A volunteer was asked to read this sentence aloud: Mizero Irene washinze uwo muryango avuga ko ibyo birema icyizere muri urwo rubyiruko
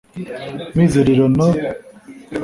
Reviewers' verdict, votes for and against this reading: rejected, 1, 2